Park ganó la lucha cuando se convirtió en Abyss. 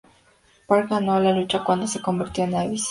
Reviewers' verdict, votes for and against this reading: accepted, 2, 0